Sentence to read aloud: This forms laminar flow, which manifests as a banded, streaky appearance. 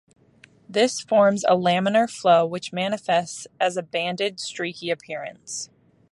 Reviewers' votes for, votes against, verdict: 0, 2, rejected